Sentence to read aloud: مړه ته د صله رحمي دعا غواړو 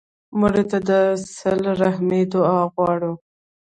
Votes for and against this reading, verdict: 1, 2, rejected